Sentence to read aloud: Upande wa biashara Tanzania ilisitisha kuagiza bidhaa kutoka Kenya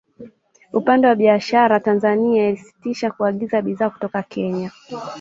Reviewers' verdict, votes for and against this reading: accepted, 2, 1